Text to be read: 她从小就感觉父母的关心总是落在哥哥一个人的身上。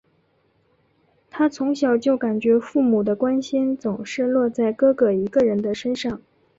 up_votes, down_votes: 2, 0